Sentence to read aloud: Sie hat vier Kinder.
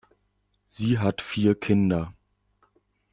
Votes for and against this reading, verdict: 2, 0, accepted